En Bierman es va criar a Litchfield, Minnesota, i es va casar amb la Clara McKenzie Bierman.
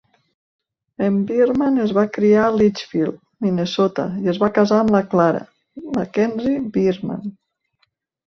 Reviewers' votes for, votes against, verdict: 2, 0, accepted